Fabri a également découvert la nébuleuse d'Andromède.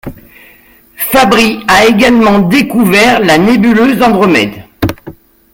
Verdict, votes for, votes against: rejected, 1, 2